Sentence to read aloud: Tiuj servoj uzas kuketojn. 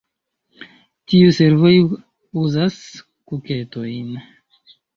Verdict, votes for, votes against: rejected, 1, 2